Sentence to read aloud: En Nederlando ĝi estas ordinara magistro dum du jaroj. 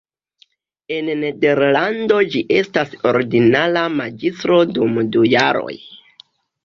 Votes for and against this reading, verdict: 2, 0, accepted